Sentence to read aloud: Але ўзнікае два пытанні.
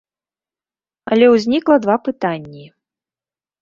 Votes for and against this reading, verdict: 0, 2, rejected